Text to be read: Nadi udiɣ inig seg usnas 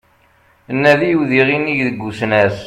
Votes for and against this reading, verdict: 2, 0, accepted